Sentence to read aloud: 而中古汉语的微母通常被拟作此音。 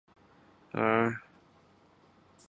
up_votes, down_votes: 1, 4